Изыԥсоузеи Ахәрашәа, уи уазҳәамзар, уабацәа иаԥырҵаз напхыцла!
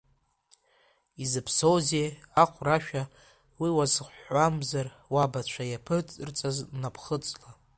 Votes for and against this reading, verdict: 1, 2, rejected